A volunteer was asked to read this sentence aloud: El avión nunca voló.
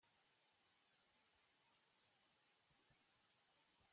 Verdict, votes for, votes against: rejected, 0, 2